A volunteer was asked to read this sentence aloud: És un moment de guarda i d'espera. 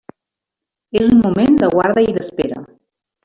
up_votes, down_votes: 1, 2